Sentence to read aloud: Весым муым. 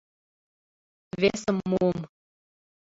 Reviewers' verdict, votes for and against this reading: rejected, 1, 2